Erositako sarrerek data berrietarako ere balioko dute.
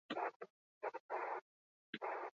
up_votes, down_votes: 0, 8